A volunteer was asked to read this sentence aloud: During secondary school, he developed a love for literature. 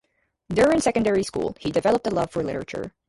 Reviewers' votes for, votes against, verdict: 4, 0, accepted